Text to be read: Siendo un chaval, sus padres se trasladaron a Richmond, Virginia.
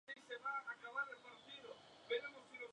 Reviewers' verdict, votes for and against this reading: rejected, 0, 2